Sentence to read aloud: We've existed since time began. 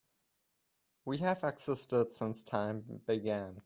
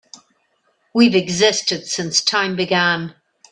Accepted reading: second